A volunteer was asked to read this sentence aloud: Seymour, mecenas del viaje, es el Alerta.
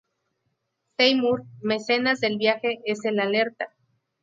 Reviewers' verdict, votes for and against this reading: rejected, 0, 2